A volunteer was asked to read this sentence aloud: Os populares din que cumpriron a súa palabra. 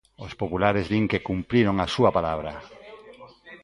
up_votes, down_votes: 1, 2